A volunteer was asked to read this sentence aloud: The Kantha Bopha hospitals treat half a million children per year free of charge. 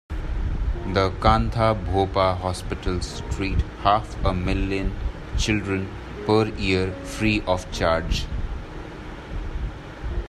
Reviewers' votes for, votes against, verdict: 2, 0, accepted